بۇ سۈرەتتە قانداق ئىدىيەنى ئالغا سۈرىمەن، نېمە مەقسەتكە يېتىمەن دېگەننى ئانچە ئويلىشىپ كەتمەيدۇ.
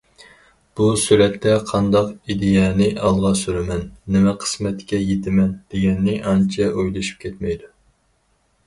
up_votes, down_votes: 0, 4